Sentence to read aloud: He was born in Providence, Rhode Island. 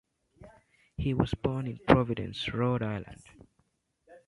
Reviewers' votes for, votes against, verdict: 1, 2, rejected